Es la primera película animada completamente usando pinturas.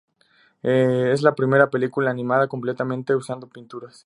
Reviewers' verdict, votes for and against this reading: accepted, 2, 0